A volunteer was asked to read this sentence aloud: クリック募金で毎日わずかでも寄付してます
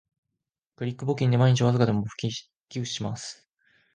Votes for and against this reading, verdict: 1, 2, rejected